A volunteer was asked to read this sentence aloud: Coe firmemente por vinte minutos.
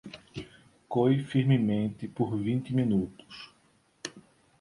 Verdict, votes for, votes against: accepted, 2, 0